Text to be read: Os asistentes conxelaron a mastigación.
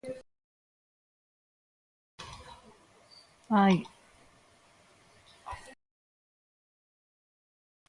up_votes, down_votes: 0, 2